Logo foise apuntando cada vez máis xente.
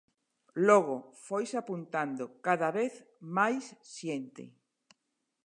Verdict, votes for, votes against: accepted, 2, 0